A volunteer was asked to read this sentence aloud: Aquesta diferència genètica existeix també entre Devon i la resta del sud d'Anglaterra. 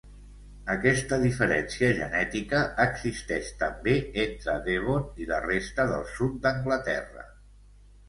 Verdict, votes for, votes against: accepted, 2, 0